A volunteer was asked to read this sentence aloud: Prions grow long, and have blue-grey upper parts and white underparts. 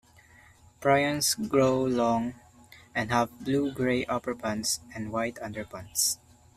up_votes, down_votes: 1, 2